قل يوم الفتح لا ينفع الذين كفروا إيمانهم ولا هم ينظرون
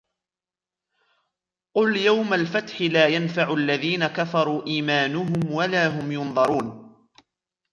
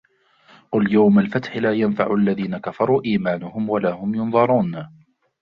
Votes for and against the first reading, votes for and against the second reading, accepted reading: 2, 0, 0, 2, first